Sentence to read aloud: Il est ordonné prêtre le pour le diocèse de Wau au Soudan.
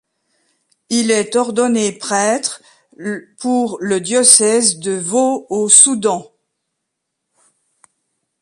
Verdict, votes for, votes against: rejected, 0, 2